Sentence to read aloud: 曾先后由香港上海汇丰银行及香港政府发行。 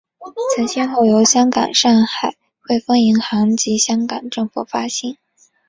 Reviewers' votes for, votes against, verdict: 2, 0, accepted